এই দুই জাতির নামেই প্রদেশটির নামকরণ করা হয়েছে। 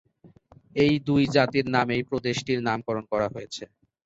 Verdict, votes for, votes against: rejected, 0, 3